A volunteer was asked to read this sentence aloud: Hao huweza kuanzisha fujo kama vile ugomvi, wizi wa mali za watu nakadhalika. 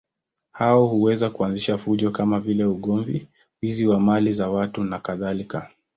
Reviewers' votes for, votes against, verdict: 2, 0, accepted